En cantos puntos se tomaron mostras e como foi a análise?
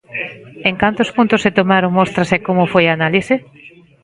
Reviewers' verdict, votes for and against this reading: accepted, 2, 0